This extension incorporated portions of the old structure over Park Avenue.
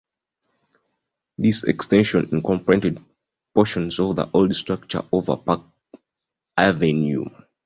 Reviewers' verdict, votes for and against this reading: accepted, 2, 1